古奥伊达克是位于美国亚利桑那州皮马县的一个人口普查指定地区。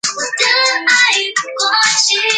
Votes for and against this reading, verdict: 1, 2, rejected